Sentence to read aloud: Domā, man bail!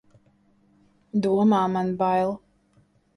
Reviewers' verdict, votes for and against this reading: accepted, 2, 0